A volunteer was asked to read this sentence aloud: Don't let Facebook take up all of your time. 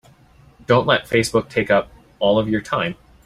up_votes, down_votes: 2, 0